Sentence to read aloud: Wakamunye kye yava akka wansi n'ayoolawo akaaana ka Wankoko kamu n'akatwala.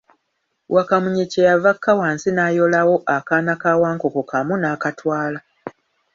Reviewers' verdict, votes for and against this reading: accepted, 2, 0